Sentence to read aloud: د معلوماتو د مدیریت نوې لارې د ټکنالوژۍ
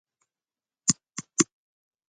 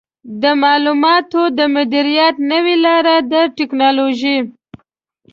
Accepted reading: second